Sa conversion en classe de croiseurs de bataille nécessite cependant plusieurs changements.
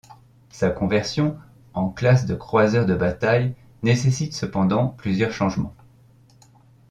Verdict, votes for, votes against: accepted, 2, 0